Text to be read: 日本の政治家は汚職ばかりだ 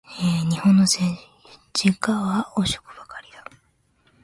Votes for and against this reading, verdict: 2, 3, rejected